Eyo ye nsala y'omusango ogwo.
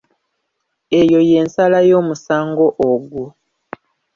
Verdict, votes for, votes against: rejected, 1, 2